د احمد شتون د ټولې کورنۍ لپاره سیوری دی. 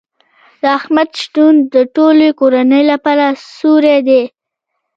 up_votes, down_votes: 1, 2